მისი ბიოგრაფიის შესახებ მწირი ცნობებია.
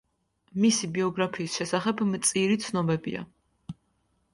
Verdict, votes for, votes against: accepted, 2, 0